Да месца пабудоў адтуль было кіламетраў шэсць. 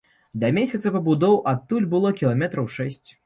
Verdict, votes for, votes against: rejected, 0, 2